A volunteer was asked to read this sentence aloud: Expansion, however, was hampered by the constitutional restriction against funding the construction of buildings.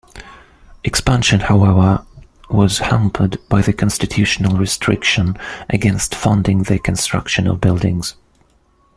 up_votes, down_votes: 2, 0